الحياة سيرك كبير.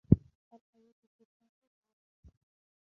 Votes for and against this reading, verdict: 0, 2, rejected